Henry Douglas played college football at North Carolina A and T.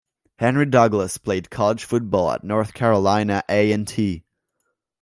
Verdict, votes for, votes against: accepted, 2, 0